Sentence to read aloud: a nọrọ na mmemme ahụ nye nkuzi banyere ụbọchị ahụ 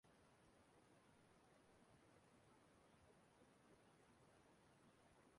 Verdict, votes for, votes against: rejected, 0, 2